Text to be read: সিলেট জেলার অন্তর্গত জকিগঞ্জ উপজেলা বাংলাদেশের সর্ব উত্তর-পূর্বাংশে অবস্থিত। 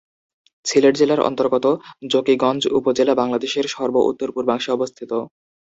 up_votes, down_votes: 2, 0